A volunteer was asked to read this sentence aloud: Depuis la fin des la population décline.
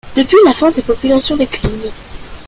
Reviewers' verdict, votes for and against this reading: rejected, 1, 2